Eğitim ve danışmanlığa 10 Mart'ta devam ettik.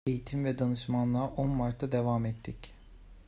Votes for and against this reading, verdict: 0, 2, rejected